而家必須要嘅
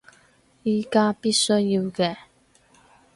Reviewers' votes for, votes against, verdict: 2, 4, rejected